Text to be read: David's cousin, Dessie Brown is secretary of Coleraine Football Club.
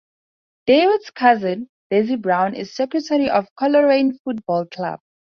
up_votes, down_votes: 4, 0